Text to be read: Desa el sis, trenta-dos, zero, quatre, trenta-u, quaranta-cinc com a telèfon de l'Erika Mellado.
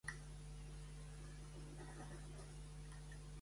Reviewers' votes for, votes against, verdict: 0, 2, rejected